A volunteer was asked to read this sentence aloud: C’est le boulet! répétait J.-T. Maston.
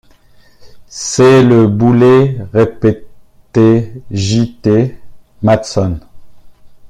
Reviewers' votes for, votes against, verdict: 1, 2, rejected